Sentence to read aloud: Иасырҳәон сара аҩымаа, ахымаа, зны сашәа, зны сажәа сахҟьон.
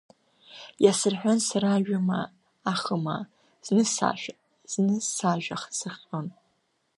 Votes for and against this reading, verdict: 0, 2, rejected